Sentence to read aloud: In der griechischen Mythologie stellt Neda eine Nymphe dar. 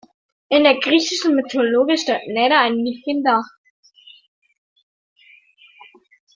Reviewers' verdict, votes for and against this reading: rejected, 0, 2